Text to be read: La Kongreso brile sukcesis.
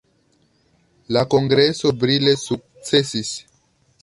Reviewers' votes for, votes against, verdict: 2, 0, accepted